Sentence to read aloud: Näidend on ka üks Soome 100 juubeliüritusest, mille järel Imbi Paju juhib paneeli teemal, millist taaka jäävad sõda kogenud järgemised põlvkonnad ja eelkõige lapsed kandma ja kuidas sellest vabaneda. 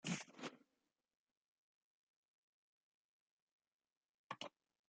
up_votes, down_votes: 0, 2